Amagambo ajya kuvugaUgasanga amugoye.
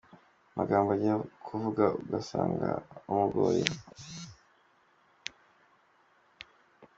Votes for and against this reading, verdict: 3, 2, accepted